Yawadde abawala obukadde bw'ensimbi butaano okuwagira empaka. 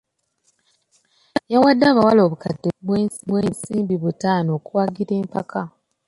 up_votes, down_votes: 0, 2